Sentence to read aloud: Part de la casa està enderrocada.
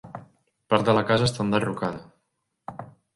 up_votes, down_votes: 3, 0